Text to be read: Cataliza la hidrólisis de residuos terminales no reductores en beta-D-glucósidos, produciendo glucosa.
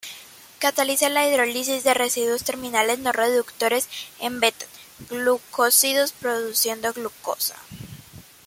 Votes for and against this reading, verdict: 1, 2, rejected